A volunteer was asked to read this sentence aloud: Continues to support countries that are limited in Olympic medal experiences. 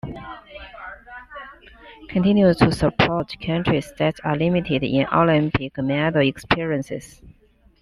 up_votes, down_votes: 0, 2